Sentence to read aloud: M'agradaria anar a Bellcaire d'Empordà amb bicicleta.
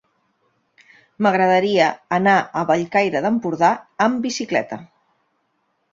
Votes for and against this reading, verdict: 2, 0, accepted